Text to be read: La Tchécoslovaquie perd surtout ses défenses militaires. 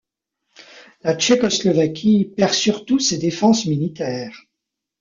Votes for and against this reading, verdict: 2, 0, accepted